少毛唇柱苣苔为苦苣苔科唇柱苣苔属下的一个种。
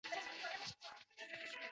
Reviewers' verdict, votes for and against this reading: rejected, 0, 2